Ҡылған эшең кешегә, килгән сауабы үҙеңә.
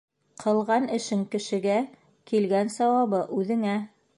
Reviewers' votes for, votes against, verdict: 3, 0, accepted